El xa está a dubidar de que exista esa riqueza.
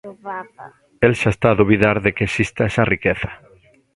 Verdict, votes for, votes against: accepted, 2, 1